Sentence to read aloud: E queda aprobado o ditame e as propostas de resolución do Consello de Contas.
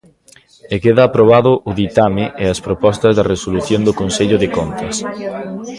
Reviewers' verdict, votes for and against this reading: accepted, 3, 0